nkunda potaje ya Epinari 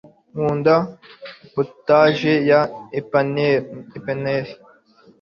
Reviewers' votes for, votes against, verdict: 0, 2, rejected